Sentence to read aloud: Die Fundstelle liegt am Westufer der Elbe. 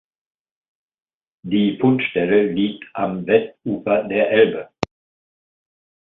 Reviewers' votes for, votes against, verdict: 2, 0, accepted